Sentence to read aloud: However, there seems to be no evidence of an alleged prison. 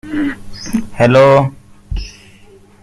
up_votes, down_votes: 0, 2